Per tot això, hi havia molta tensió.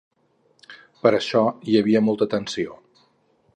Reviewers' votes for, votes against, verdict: 0, 4, rejected